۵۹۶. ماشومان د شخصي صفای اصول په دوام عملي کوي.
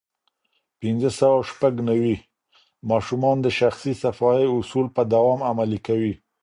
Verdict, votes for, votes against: rejected, 0, 2